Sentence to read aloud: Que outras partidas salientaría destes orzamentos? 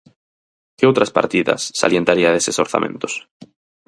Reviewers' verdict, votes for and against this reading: rejected, 0, 4